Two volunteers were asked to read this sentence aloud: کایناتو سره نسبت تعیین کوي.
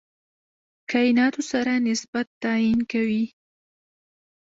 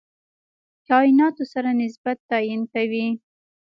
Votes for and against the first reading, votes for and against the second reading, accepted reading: 1, 2, 2, 1, second